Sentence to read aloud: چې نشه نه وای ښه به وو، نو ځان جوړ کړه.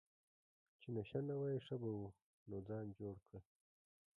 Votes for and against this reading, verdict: 0, 2, rejected